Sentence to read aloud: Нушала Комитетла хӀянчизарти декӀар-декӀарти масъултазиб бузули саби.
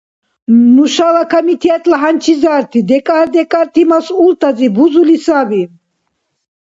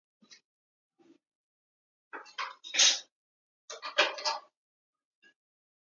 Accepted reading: first